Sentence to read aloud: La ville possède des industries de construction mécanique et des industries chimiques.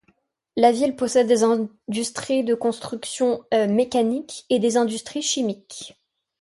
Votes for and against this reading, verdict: 1, 2, rejected